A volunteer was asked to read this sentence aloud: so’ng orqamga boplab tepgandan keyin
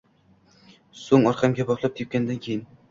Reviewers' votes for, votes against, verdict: 2, 0, accepted